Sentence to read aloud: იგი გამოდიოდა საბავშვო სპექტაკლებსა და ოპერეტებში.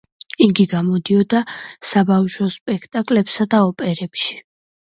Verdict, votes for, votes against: rejected, 1, 2